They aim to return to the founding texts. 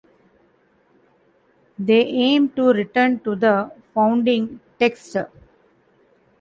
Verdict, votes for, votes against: rejected, 1, 2